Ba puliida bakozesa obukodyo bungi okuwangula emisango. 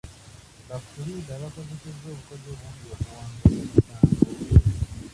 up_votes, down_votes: 0, 2